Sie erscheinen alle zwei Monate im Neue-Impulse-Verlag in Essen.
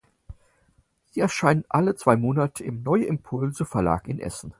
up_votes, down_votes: 4, 0